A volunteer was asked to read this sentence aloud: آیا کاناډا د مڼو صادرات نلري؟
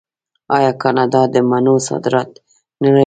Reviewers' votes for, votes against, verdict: 0, 2, rejected